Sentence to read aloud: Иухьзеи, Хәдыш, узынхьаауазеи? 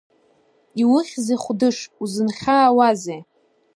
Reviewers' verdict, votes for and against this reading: accepted, 2, 0